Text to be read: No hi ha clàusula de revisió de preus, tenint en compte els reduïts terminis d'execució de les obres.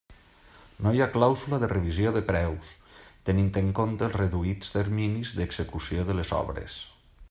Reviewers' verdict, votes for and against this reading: accepted, 3, 0